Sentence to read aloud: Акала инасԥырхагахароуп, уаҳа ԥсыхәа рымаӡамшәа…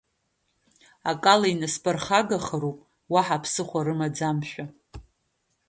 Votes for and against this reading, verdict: 3, 0, accepted